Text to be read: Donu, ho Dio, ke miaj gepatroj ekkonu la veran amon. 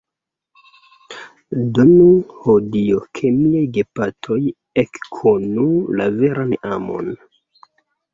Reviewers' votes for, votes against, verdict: 0, 2, rejected